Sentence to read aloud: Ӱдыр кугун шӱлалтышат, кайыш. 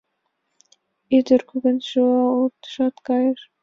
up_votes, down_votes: 2, 0